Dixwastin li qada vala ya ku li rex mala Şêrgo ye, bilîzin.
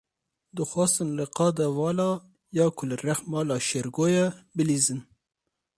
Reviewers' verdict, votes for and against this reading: rejected, 2, 2